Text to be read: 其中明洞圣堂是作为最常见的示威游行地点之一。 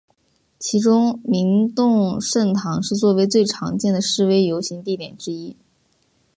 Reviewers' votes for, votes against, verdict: 2, 0, accepted